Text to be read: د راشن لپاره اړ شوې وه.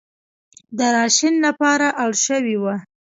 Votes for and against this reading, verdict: 2, 0, accepted